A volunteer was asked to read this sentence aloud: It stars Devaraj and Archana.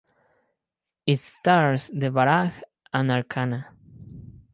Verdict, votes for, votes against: accepted, 4, 0